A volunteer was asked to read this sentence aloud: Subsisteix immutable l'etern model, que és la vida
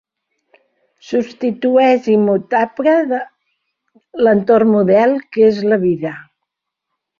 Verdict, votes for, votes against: rejected, 1, 4